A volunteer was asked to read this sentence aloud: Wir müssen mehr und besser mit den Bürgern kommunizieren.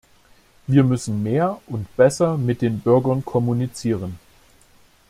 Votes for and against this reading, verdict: 2, 0, accepted